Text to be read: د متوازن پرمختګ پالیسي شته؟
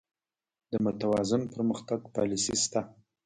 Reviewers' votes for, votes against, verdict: 0, 2, rejected